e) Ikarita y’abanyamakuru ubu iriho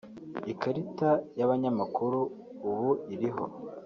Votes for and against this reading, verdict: 0, 2, rejected